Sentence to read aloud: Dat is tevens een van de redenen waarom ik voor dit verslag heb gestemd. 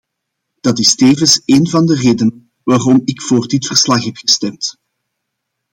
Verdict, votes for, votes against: accepted, 2, 1